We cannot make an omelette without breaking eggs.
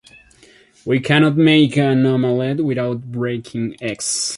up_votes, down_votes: 2, 0